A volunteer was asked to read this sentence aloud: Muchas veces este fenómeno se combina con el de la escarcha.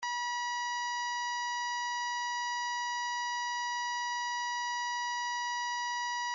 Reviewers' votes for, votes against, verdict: 0, 2, rejected